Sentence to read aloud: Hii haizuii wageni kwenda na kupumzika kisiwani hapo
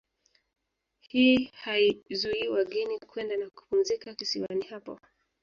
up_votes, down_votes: 2, 0